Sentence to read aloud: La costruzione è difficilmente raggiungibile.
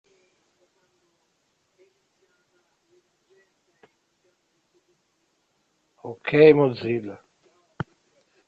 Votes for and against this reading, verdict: 0, 2, rejected